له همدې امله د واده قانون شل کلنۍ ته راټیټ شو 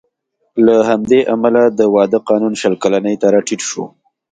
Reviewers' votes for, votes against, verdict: 2, 0, accepted